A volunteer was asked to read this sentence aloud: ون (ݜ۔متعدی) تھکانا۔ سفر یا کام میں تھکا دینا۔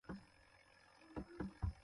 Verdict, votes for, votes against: rejected, 0, 2